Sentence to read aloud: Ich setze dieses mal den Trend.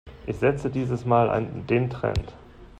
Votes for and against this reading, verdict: 0, 2, rejected